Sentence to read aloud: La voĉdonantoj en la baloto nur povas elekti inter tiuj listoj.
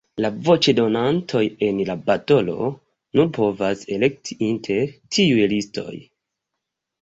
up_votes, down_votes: 4, 5